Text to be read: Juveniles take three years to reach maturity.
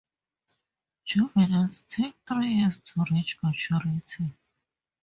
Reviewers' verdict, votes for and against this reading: rejected, 0, 4